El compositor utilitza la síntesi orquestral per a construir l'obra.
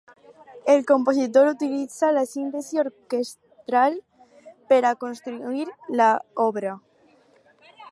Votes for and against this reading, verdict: 0, 4, rejected